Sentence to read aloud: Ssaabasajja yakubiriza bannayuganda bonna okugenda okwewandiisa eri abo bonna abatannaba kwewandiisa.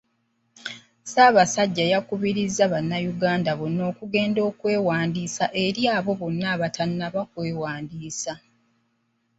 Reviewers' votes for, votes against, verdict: 2, 1, accepted